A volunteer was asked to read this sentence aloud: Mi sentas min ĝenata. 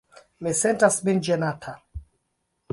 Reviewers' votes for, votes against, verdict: 0, 2, rejected